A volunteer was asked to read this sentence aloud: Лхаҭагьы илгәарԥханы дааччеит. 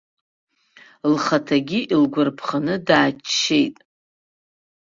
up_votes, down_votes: 2, 1